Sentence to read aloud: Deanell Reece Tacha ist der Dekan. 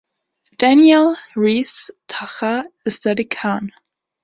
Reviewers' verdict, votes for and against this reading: rejected, 1, 2